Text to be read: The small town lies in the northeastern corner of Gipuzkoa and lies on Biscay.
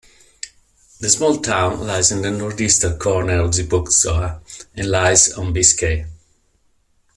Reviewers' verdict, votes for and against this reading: accepted, 2, 0